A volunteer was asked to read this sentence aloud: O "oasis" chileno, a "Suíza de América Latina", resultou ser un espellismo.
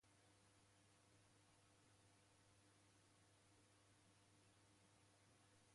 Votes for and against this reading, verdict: 0, 2, rejected